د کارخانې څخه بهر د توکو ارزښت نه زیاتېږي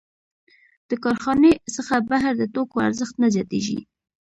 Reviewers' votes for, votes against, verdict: 2, 0, accepted